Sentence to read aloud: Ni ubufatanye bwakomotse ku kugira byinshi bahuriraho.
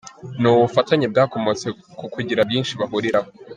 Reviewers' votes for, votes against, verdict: 0, 2, rejected